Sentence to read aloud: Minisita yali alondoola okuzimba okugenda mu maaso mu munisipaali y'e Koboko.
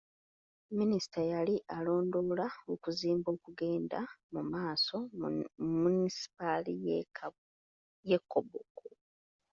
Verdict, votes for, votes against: rejected, 0, 2